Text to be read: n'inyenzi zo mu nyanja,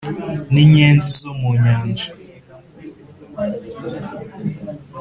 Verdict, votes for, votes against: accepted, 3, 0